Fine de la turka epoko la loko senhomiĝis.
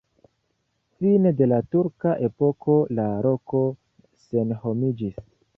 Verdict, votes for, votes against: accepted, 2, 1